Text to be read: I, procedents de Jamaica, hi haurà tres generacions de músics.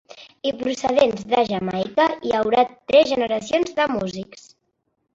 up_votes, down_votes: 2, 1